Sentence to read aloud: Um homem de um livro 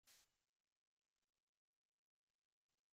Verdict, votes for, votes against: rejected, 0, 2